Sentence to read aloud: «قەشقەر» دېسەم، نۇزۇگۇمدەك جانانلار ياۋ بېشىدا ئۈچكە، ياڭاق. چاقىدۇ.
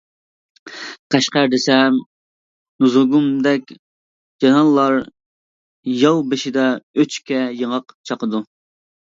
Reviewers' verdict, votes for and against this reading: accepted, 2, 0